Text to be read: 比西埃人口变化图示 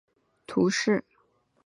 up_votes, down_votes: 1, 2